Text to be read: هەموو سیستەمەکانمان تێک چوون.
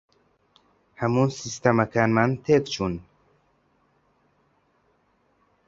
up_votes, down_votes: 2, 0